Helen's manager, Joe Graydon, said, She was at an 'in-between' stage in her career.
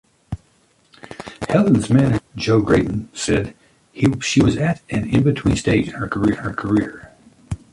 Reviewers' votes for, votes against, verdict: 0, 3, rejected